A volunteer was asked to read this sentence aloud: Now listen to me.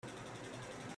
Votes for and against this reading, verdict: 0, 3, rejected